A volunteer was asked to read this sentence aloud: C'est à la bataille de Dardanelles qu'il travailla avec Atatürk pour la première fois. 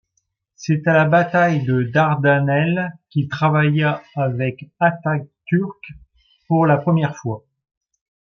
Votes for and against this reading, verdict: 2, 0, accepted